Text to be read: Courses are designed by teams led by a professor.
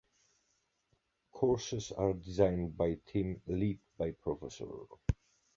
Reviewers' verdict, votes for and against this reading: rejected, 0, 2